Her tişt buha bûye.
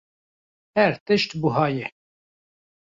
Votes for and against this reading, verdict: 0, 2, rejected